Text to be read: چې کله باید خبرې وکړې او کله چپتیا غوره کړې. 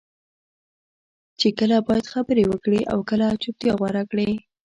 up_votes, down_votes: 2, 0